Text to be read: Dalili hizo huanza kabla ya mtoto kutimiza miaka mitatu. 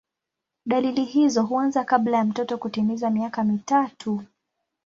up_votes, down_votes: 3, 0